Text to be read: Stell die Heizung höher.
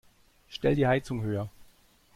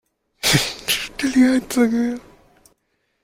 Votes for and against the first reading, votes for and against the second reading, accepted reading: 2, 0, 0, 2, first